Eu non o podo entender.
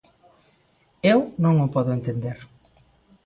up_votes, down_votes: 2, 0